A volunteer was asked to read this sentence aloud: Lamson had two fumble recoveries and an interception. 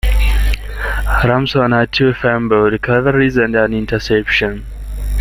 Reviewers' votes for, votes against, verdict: 1, 2, rejected